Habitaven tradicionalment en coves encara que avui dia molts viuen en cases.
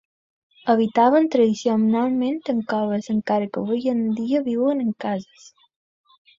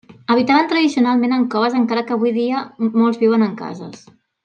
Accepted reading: second